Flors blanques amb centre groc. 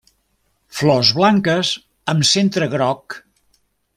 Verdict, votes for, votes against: accepted, 3, 0